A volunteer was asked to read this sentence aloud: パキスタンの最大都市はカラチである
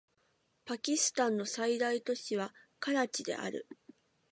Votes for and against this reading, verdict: 1, 2, rejected